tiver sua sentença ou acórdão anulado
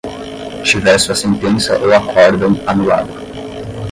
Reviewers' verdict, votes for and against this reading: accepted, 10, 0